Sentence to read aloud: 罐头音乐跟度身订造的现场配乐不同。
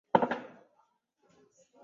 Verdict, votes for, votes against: rejected, 0, 2